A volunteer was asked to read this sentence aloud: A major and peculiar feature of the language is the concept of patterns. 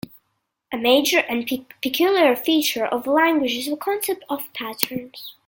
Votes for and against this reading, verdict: 1, 2, rejected